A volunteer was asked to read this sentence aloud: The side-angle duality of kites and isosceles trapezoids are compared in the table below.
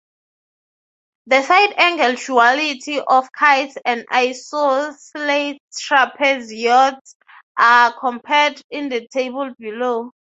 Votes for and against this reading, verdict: 3, 3, rejected